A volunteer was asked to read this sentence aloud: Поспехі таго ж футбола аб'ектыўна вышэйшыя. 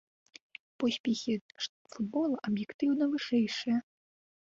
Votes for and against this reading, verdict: 1, 2, rejected